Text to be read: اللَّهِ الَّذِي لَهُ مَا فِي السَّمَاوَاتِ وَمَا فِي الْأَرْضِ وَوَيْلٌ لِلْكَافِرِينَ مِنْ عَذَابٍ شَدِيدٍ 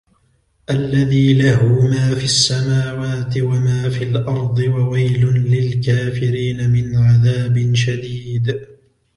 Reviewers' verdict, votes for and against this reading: accepted, 2, 0